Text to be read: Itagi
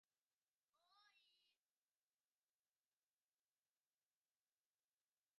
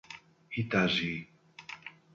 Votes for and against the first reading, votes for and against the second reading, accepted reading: 0, 2, 2, 0, second